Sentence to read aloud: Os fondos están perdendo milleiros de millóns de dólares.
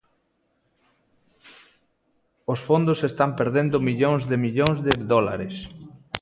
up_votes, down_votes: 0, 2